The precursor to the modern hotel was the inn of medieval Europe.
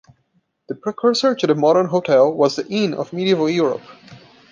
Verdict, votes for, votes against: accepted, 2, 0